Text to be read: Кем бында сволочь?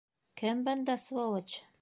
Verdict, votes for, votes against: accepted, 2, 0